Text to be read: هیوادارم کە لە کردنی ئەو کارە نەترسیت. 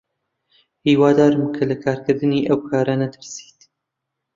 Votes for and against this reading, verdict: 0, 2, rejected